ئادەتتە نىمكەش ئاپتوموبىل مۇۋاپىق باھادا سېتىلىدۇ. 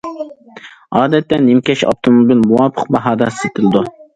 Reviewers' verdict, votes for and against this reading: accepted, 2, 0